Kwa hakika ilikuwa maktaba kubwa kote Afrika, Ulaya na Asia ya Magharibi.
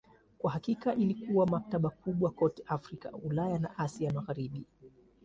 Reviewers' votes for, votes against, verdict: 2, 0, accepted